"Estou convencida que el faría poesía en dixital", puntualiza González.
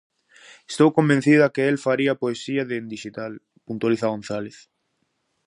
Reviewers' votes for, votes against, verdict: 0, 2, rejected